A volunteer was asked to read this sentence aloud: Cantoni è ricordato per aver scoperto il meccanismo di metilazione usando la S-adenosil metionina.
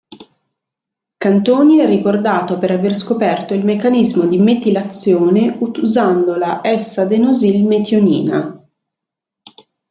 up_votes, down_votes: 0, 2